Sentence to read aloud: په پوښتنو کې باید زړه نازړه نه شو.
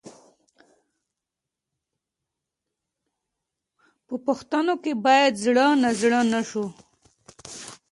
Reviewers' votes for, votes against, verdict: 0, 2, rejected